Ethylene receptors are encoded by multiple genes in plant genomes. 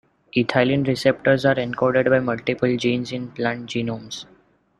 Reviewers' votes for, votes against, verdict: 0, 2, rejected